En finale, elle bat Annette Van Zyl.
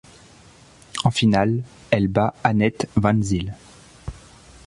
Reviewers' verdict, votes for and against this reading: accepted, 2, 0